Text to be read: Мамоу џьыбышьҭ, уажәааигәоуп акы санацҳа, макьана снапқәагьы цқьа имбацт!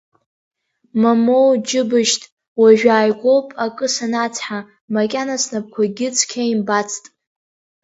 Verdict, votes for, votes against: accepted, 2, 0